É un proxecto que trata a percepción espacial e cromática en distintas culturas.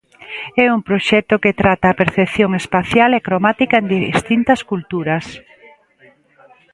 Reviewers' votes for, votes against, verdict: 1, 2, rejected